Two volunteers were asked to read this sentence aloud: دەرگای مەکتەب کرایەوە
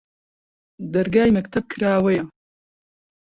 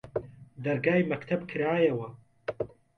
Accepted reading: second